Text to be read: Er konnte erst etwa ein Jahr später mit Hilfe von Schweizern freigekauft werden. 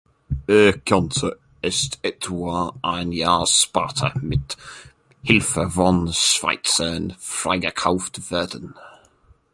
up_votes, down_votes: 0, 2